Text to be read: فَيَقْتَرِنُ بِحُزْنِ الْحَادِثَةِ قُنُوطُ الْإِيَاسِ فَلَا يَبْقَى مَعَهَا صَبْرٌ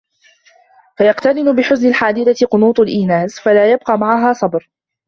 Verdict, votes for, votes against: rejected, 0, 2